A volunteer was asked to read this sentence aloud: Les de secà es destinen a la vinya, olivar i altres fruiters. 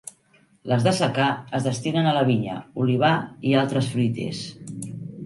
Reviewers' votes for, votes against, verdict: 2, 0, accepted